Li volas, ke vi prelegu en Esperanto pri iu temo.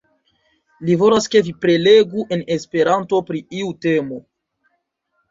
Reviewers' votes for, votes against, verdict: 1, 2, rejected